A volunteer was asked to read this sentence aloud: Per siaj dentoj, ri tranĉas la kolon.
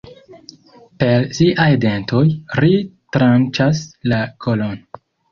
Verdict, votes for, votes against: accepted, 2, 1